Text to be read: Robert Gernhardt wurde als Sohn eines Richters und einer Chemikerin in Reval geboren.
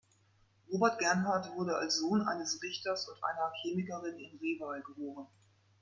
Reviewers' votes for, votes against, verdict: 2, 0, accepted